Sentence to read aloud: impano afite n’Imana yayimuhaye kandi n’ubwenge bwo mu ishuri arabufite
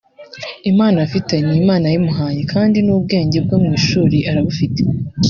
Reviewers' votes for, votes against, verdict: 2, 0, accepted